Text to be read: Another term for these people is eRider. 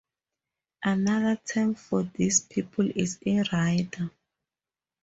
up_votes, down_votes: 2, 0